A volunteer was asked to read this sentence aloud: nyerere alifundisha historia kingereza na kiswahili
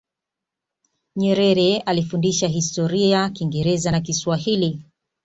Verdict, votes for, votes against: accepted, 2, 0